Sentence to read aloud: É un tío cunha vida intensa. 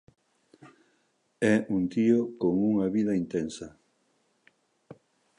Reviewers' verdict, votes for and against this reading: rejected, 0, 2